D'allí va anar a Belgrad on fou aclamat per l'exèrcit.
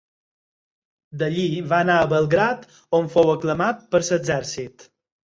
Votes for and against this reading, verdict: 4, 0, accepted